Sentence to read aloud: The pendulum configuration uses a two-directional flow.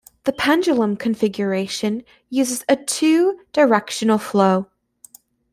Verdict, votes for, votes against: accepted, 2, 0